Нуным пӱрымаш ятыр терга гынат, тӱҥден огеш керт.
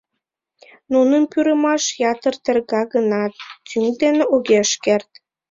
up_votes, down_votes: 0, 2